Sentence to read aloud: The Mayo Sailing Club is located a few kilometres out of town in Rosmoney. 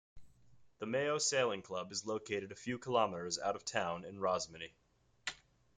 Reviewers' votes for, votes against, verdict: 2, 0, accepted